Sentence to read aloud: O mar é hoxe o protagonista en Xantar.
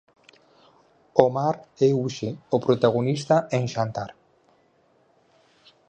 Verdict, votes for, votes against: accepted, 4, 0